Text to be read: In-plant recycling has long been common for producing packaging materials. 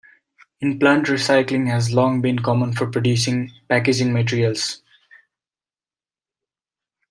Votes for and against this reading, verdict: 1, 2, rejected